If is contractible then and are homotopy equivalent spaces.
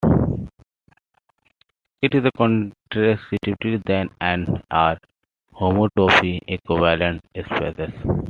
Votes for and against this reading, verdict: 0, 2, rejected